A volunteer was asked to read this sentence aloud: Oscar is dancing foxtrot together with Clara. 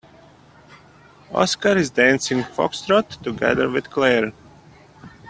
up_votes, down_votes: 2, 0